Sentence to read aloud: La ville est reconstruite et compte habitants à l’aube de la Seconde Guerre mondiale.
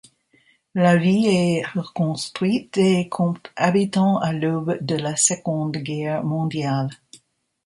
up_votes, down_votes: 0, 2